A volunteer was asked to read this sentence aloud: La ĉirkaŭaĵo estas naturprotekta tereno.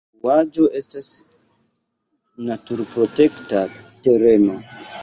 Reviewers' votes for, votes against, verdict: 0, 2, rejected